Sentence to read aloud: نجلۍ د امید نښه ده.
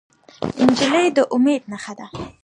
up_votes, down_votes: 1, 2